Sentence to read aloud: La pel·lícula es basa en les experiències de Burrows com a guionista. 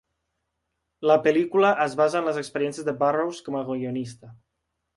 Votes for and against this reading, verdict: 0, 2, rejected